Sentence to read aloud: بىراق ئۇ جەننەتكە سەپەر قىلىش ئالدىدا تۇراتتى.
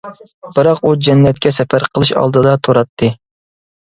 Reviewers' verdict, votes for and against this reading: accepted, 2, 0